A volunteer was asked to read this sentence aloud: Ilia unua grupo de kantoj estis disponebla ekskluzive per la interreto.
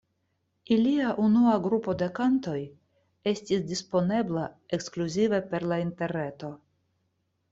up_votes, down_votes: 2, 0